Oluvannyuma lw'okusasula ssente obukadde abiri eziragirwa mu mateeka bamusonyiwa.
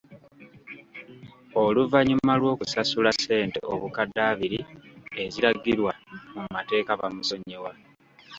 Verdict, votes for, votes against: accepted, 2, 0